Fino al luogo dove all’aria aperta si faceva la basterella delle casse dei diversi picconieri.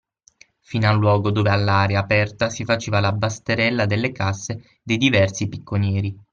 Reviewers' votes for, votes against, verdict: 6, 0, accepted